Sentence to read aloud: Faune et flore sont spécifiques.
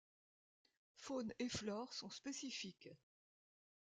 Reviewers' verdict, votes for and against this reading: accepted, 2, 0